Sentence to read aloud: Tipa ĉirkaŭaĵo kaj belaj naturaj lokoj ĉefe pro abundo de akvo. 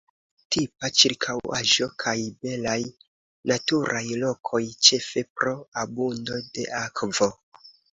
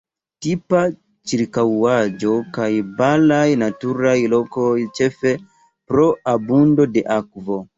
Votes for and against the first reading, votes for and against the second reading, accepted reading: 2, 0, 0, 2, first